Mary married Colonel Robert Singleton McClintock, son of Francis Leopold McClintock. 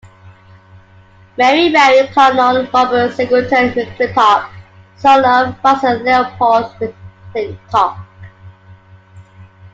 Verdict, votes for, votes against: accepted, 2, 0